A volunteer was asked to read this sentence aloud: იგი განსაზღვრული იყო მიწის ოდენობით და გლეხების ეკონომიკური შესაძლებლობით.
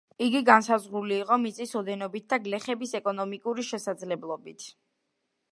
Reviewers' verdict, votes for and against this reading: accepted, 2, 0